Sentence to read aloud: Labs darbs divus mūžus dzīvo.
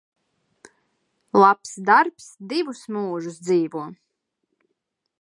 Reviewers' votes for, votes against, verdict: 2, 1, accepted